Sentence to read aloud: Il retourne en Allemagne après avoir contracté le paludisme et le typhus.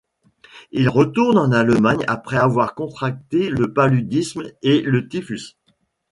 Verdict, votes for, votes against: accepted, 2, 0